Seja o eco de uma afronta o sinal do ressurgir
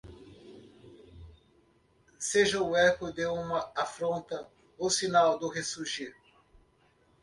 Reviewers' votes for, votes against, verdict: 1, 2, rejected